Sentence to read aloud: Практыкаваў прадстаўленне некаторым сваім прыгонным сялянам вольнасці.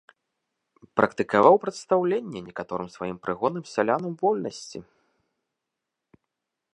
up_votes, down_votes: 2, 1